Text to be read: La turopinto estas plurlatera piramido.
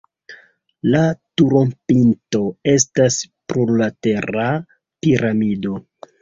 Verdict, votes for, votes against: rejected, 1, 2